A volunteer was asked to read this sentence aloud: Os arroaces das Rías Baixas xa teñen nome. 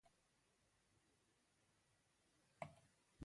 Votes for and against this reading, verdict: 0, 2, rejected